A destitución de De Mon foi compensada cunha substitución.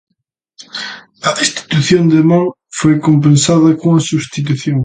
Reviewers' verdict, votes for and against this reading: rejected, 1, 2